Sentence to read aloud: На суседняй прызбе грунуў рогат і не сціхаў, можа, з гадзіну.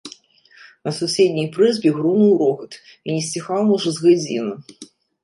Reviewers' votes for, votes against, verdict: 2, 0, accepted